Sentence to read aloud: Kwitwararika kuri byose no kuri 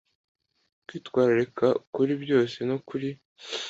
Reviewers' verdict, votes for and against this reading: accepted, 2, 0